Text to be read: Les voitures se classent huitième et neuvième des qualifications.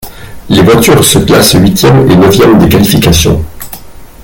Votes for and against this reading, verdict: 0, 2, rejected